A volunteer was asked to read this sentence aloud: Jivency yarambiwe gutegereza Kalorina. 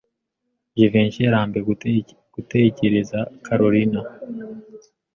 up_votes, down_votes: 1, 2